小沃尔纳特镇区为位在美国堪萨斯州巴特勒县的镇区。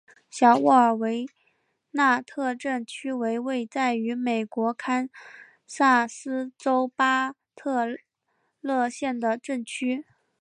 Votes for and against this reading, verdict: 1, 2, rejected